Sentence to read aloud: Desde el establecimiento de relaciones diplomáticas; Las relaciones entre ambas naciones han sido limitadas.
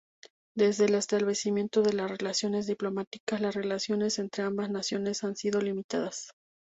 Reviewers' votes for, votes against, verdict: 0, 2, rejected